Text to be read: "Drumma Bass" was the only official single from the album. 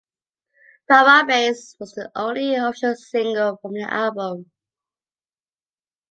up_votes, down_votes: 0, 3